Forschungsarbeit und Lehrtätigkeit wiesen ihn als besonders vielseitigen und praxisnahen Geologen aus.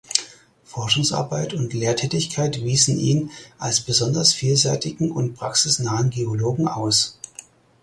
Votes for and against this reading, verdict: 4, 0, accepted